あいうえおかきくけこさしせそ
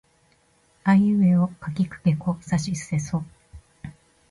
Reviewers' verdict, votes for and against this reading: accepted, 2, 1